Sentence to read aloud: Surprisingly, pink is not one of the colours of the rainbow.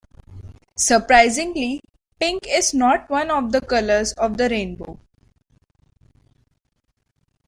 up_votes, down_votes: 2, 0